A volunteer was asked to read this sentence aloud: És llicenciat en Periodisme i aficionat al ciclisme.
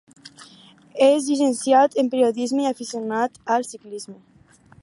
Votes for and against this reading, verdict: 4, 0, accepted